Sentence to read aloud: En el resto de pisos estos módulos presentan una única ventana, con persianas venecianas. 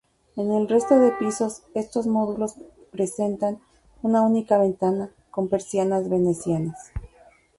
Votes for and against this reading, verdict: 0, 2, rejected